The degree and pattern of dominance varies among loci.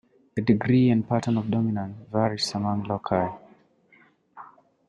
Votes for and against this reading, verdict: 1, 2, rejected